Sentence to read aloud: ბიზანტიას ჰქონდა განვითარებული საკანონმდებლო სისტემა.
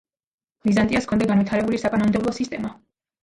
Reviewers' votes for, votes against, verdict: 2, 0, accepted